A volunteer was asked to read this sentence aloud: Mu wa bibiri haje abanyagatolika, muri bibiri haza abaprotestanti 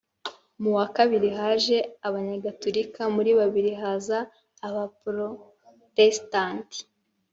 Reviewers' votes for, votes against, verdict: 1, 2, rejected